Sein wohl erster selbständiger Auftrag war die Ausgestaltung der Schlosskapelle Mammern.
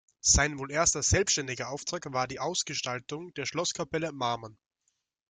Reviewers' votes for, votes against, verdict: 1, 2, rejected